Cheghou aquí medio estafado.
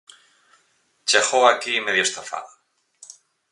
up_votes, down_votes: 4, 0